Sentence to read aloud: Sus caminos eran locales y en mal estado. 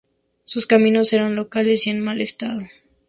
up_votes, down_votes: 2, 0